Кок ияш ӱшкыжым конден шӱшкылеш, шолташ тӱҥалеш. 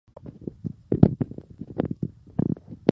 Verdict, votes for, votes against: rejected, 1, 2